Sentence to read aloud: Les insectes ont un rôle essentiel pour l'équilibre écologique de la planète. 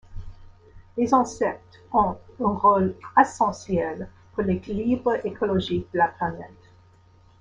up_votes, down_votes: 0, 2